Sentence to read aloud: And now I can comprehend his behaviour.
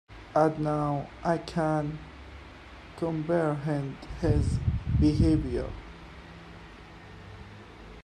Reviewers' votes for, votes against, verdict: 2, 0, accepted